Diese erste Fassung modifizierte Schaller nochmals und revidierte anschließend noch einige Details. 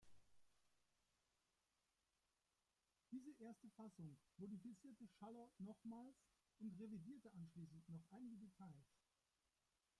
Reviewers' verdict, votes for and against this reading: rejected, 0, 2